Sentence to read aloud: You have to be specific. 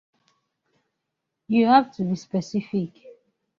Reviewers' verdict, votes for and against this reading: rejected, 1, 2